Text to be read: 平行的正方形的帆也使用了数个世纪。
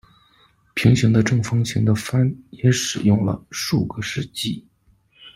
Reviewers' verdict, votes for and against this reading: accepted, 2, 0